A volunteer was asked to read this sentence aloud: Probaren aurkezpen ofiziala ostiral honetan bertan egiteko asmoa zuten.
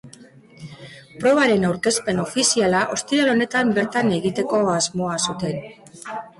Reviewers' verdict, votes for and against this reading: accepted, 2, 0